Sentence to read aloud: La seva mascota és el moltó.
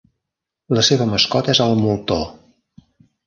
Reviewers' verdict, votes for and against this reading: accepted, 2, 1